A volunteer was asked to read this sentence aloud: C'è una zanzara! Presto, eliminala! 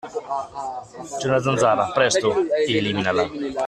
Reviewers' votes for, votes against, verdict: 2, 0, accepted